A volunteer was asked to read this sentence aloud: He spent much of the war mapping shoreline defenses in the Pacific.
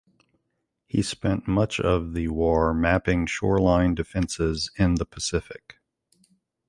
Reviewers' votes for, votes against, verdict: 2, 0, accepted